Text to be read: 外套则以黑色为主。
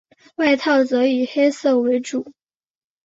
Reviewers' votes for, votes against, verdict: 2, 0, accepted